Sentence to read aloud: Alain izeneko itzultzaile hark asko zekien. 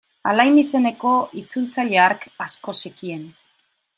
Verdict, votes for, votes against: accepted, 2, 0